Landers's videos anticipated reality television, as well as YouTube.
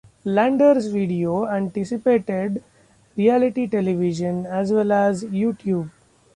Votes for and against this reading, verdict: 2, 1, accepted